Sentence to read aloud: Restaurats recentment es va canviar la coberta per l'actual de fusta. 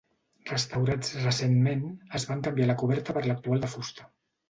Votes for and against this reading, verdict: 0, 2, rejected